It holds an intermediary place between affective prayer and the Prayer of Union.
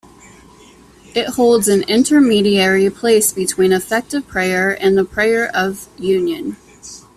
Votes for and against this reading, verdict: 0, 2, rejected